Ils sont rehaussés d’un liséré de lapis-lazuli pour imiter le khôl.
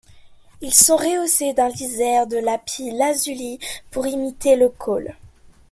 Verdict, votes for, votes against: rejected, 1, 2